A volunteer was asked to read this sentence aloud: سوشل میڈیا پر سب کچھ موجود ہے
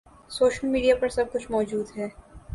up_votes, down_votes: 2, 0